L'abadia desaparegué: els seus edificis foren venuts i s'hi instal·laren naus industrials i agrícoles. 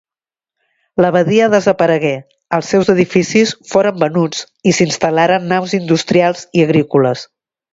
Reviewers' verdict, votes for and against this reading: accepted, 2, 0